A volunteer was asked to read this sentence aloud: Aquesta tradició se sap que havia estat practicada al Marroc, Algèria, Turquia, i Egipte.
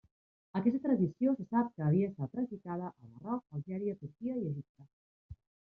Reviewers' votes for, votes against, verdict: 1, 2, rejected